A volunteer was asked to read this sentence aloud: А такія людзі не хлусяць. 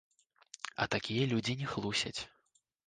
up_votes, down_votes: 2, 0